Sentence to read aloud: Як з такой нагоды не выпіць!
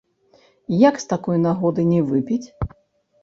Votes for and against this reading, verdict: 0, 2, rejected